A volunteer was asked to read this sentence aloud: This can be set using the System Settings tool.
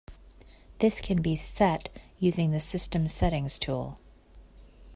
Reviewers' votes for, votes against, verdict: 2, 0, accepted